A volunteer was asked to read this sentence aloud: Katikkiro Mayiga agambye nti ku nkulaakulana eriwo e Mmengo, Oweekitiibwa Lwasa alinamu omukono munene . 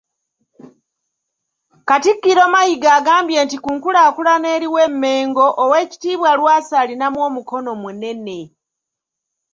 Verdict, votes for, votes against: accepted, 2, 0